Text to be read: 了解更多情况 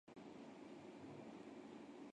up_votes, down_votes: 0, 2